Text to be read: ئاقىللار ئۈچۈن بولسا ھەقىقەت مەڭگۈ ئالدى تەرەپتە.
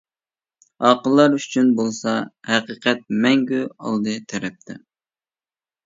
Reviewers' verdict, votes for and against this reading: accepted, 2, 0